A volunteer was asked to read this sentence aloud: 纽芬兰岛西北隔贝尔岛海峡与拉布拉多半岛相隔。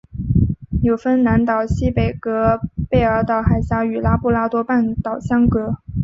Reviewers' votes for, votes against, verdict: 4, 0, accepted